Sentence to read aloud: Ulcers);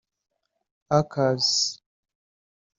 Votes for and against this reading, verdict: 1, 2, rejected